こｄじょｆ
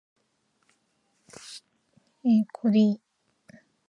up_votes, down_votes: 7, 10